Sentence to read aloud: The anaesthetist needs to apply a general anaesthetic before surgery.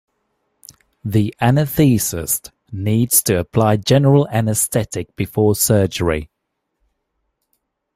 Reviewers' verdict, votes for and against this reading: rejected, 0, 2